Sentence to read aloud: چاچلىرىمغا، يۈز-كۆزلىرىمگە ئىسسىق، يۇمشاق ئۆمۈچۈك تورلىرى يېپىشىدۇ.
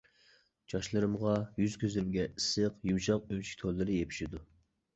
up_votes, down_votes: 0, 2